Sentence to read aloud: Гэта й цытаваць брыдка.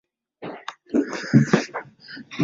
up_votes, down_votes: 0, 2